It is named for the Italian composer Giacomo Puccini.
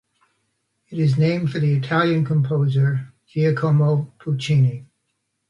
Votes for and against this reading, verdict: 2, 0, accepted